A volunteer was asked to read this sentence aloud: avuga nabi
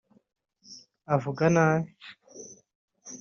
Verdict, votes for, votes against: accepted, 2, 0